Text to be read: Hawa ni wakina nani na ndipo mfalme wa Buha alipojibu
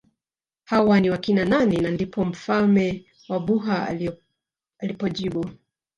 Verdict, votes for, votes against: rejected, 0, 2